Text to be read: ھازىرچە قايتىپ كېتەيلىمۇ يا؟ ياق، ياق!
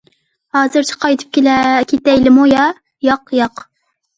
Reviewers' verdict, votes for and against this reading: rejected, 0, 2